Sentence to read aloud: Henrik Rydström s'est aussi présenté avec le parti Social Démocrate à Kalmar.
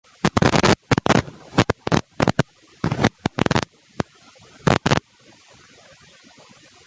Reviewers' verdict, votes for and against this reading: rejected, 0, 2